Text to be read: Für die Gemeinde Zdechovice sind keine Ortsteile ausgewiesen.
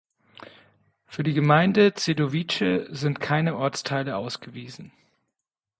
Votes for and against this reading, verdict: 1, 2, rejected